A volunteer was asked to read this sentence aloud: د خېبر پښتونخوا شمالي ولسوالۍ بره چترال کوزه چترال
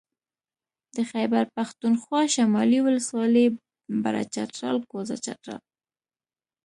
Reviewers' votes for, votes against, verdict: 2, 0, accepted